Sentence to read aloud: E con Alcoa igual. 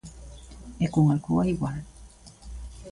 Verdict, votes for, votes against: accepted, 2, 0